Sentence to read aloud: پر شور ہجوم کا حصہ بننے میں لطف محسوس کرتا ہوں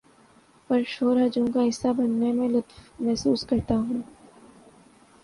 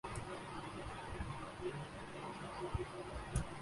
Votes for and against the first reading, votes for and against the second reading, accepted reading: 2, 0, 0, 5, first